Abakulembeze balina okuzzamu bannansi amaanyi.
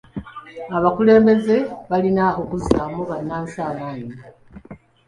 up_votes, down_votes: 2, 0